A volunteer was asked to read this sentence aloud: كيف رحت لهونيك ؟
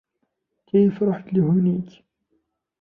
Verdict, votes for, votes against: rejected, 1, 2